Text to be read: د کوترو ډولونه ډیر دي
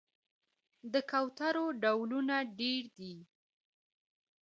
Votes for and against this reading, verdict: 0, 2, rejected